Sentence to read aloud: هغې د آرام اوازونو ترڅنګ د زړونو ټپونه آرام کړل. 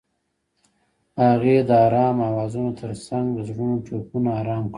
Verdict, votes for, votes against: accepted, 2, 0